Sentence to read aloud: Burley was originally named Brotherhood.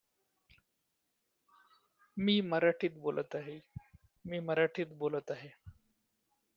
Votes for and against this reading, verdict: 0, 2, rejected